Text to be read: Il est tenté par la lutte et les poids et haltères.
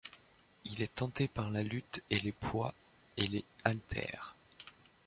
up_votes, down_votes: 0, 2